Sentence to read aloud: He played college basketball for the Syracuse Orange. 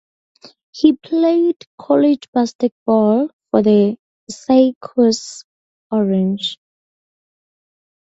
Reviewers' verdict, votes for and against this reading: rejected, 2, 2